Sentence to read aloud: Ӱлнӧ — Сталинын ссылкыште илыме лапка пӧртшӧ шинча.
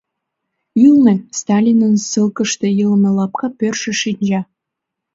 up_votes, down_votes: 2, 0